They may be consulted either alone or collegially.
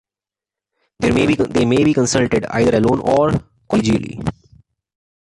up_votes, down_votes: 1, 2